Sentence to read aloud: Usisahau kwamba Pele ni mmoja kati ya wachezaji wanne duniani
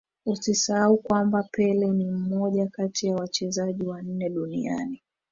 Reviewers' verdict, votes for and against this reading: rejected, 0, 2